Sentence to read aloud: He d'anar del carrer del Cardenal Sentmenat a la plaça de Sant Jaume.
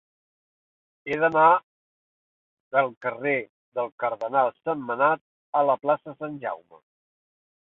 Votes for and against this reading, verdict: 0, 2, rejected